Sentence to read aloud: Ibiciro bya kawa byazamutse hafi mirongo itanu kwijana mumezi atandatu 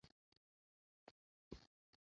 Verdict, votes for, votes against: rejected, 0, 2